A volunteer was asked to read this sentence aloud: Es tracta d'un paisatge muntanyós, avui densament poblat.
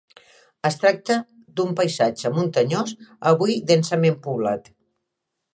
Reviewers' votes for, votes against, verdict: 3, 0, accepted